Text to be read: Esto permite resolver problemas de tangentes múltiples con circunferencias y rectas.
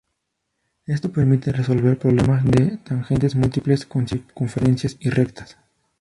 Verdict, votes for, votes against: rejected, 0, 4